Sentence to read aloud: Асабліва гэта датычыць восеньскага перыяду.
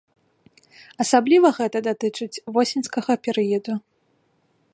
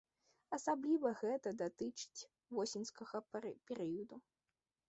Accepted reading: first